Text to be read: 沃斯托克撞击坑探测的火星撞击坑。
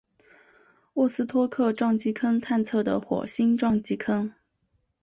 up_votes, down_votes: 3, 0